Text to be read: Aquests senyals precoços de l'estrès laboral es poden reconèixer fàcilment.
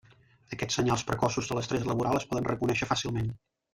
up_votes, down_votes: 1, 2